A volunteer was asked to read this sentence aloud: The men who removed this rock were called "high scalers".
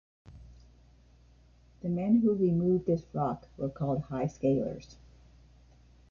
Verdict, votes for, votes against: accepted, 2, 1